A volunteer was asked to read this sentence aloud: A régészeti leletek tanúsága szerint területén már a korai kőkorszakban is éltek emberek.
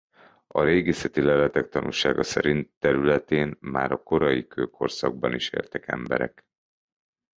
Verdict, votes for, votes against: accepted, 2, 0